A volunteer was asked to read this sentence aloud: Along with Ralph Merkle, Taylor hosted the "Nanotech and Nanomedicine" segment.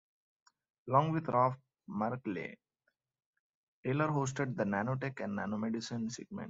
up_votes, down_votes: 1, 2